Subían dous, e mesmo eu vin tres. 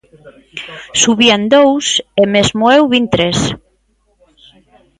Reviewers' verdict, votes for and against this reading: accepted, 2, 0